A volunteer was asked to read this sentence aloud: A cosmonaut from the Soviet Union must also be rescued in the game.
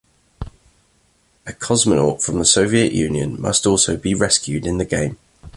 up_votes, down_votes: 2, 0